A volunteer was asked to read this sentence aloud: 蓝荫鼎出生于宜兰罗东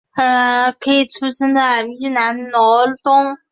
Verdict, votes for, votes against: rejected, 0, 3